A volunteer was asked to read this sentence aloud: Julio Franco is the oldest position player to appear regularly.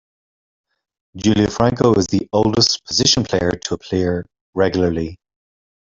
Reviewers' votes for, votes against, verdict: 0, 2, rejected